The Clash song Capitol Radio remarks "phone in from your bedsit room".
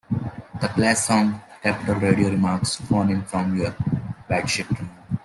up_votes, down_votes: 0, 2